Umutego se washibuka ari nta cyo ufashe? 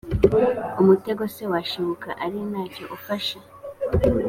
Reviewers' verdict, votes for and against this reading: accepted, 2, 0